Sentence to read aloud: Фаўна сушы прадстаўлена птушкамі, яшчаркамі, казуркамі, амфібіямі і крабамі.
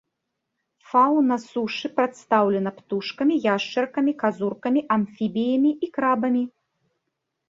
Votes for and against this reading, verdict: 1, 2, rejected